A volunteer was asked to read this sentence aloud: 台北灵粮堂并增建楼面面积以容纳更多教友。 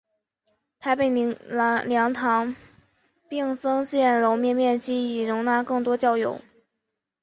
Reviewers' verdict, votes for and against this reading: rejected, 1, 3